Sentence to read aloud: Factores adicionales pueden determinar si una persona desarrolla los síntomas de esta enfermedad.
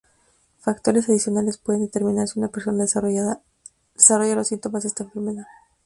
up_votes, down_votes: 0, 2